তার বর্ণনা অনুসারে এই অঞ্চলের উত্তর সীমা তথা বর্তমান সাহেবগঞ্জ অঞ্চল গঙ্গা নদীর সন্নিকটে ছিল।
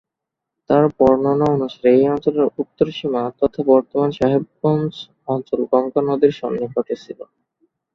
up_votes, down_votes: 1, 2